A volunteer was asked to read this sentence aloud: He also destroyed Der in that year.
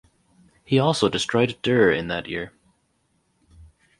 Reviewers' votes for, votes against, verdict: 4, 0, accepted